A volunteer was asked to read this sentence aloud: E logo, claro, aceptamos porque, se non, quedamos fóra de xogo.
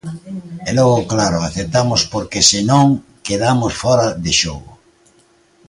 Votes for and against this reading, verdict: 2, 1, accepted